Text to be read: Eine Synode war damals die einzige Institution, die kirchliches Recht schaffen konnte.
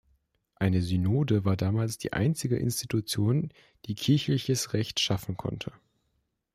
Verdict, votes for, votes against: accepted, 2, 0